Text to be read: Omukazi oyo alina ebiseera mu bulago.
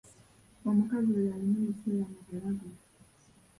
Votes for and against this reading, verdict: 2, 3, rejected